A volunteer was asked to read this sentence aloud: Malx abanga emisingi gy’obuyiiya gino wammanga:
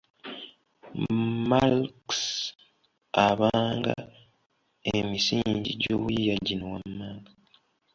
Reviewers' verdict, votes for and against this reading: accepted, 2, 0